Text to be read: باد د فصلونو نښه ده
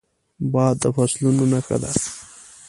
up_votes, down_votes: 2, 0